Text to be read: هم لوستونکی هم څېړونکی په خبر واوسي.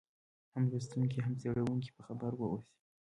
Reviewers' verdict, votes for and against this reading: rejected, 1, 2